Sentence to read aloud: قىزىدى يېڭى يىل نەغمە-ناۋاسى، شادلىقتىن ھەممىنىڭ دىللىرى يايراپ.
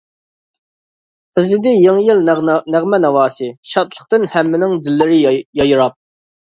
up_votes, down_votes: 1, 2